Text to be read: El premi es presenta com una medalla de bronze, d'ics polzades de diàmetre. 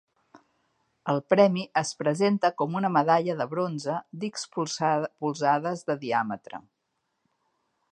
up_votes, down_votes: 1, 2